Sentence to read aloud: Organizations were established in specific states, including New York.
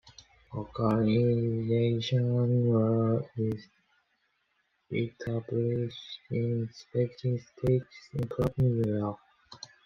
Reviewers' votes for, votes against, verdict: 0, 2, rejected